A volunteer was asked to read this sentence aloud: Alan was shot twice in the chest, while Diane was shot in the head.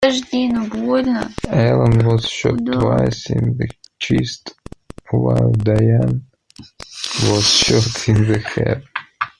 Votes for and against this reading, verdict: 1, 2, rejected